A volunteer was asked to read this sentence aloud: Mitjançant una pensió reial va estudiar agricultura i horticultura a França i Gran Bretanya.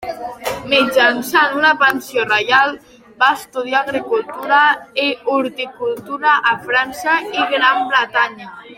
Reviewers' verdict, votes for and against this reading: accepted, 2, 1